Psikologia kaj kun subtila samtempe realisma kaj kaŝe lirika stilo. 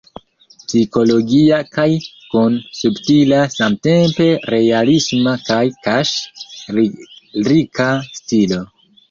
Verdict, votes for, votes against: rejected, 0, 2